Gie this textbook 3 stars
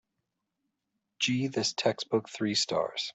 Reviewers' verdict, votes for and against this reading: rejected, 0, 2